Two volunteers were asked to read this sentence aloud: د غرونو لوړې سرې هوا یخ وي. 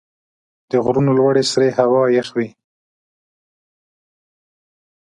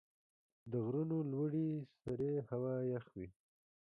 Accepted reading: first